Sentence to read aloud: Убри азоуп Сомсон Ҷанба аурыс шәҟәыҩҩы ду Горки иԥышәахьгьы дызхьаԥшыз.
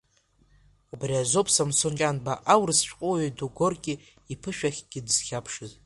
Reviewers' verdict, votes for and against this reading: accepted, 2, 1